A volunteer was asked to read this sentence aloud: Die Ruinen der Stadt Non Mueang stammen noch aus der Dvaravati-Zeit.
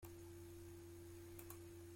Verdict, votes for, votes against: rejected, 0, 2